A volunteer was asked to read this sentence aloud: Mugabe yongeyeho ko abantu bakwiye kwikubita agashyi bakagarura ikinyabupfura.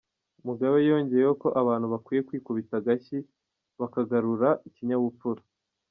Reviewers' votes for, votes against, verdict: 1, 2, rejected